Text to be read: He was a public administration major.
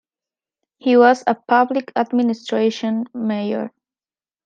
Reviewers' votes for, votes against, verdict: 0, 2, rejected